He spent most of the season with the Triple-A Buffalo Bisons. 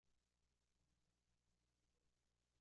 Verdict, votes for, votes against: rejected, 0, 2